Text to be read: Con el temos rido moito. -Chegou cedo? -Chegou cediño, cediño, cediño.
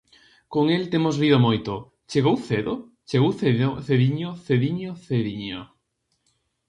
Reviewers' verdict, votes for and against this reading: rejected, 0, 2